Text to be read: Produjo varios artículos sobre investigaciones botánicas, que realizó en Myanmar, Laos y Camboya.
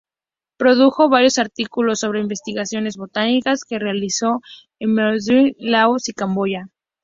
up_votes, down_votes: 4, 0